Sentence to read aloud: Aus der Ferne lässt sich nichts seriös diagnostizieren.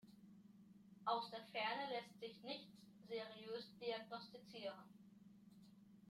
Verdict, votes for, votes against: accepted, 2, 0